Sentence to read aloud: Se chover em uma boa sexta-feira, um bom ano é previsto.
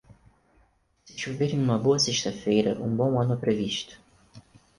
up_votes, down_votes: 0, 4